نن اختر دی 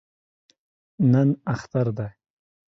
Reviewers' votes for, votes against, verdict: 2, 0, accepted